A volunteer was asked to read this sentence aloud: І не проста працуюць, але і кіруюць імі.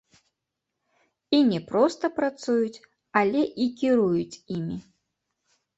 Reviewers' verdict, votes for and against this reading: accepted, 2, 0